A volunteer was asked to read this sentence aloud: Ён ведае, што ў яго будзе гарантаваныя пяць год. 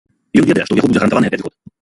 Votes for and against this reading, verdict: 0, 2, rejected